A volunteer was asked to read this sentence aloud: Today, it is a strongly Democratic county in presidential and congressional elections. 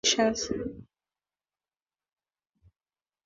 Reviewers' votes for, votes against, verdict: 0, 2, rejected